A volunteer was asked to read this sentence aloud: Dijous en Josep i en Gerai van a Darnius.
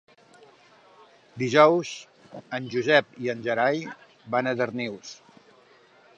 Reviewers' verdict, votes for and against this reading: accepted, 3, 0